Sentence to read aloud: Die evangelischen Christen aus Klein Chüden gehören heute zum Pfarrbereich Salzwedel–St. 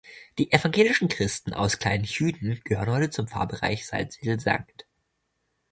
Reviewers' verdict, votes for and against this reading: rejected, 0, 2